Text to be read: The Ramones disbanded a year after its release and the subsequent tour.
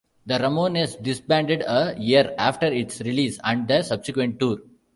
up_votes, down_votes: 2, 0